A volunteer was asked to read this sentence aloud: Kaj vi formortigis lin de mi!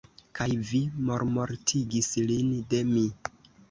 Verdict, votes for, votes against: rejected, 1, 2